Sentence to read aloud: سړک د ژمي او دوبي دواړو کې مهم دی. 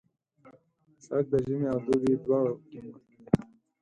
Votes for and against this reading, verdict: 4, 6, rejected